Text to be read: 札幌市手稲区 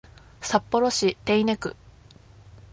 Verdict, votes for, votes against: accepted, 2, 0